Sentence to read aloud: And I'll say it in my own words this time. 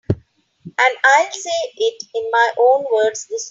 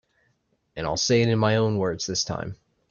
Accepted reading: second